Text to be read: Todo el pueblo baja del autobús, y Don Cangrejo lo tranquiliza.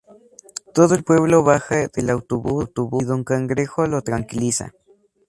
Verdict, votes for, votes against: rejected, 0, 2